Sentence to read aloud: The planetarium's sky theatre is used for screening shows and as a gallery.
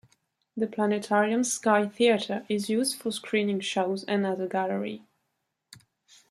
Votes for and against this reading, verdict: 2, 0, accepted